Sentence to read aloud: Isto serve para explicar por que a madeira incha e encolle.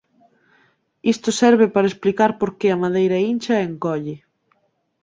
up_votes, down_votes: 2, 0